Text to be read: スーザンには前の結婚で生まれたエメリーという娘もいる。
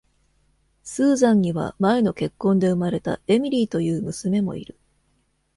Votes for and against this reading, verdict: 1, 2, rejected